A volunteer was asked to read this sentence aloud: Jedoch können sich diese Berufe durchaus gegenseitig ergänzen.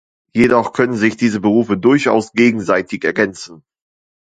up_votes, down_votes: 2, 0